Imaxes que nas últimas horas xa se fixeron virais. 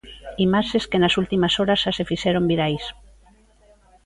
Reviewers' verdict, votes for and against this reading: rejected, 1, 2